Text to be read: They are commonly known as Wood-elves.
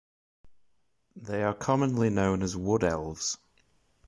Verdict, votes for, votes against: accepted, 2, 0